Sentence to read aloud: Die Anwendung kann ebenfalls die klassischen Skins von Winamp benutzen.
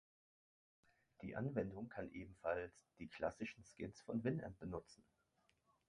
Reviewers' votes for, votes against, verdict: 1, 2, rejected